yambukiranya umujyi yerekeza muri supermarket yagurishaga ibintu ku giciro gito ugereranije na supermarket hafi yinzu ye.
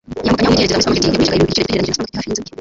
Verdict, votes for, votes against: rejected, 0, 2